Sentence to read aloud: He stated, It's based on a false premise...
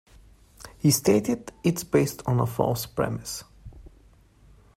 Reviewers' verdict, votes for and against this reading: accepted, 2, 0